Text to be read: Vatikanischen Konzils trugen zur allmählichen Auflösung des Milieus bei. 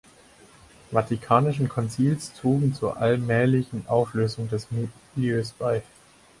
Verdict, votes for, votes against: rejected, 4, 6